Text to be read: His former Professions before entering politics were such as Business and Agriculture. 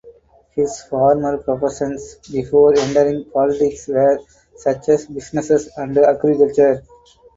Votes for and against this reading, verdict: 2, 2, rejected